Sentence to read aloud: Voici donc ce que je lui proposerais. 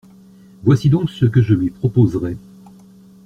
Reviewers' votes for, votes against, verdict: 3, 0, accepted